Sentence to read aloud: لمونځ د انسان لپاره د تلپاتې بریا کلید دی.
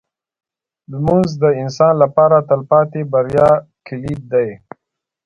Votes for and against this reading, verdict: 0, 2, rejected